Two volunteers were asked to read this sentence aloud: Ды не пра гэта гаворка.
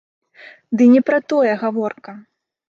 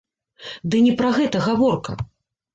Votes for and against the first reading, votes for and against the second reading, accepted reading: 0, 2, 2, 0, second